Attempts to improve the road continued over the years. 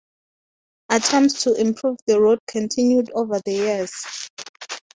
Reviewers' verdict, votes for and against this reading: rejected, 2, 2